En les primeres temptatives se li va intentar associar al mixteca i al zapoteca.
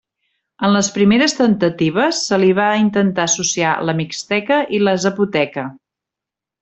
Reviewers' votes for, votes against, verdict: 1, 2, rejected